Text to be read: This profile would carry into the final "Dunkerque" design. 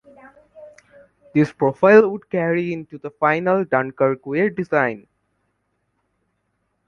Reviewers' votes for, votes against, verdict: 2, 1, accepted